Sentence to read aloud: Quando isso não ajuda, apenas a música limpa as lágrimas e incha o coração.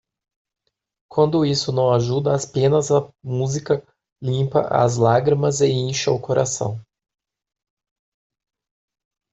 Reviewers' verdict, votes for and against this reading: rejected, 0, 2